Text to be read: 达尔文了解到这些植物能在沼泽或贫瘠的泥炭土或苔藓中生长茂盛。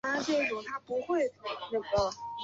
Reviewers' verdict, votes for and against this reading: rejected, 2, 3